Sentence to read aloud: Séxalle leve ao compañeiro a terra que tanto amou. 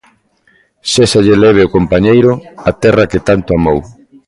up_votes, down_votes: 2, 0